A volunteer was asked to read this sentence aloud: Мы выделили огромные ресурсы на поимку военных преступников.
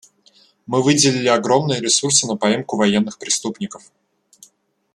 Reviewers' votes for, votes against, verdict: 2, 0, accepted